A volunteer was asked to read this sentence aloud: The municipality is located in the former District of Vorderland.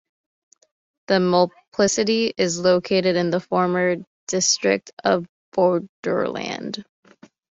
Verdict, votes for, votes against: rejected, 1, 2